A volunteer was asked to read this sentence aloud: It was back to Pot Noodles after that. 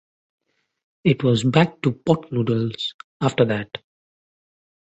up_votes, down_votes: 2, 0